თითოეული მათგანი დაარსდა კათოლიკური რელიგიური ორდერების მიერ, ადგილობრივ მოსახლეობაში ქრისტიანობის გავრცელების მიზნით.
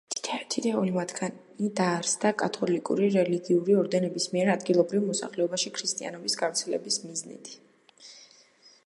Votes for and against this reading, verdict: 2, 0, accepted